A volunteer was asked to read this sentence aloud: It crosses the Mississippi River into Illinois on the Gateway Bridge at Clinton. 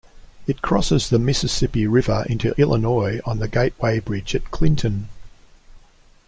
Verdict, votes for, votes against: accepted, 2, 0